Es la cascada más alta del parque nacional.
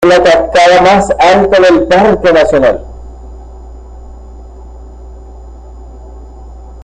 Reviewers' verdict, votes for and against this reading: rejected, 1, 2